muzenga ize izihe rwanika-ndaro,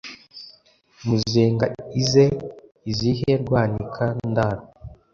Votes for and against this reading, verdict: 2, 0, accepted